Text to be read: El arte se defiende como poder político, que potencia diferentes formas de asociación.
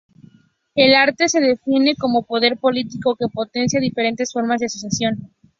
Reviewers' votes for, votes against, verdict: 4, 0, accepted